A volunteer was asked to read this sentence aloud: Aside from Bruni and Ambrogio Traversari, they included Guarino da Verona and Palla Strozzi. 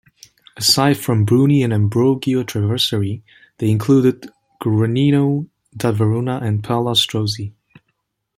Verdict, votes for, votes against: accepted, 2, 0